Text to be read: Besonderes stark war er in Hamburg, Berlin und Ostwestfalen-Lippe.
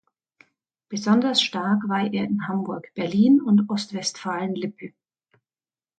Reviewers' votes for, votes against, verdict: 1, 2, rejected